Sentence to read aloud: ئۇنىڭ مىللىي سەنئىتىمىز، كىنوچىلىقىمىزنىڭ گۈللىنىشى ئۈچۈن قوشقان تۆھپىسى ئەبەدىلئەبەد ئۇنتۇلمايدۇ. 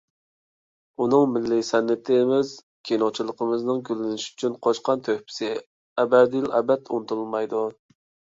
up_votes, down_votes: 2, 0